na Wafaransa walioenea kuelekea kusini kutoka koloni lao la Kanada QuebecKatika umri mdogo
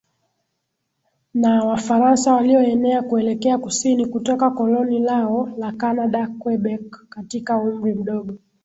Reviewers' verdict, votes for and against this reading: accepted, 2, 0